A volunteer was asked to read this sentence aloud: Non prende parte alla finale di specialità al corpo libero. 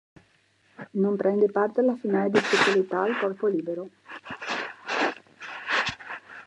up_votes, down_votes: 2, 0